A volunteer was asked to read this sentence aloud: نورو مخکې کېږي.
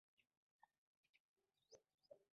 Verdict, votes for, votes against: rejected, 1, 2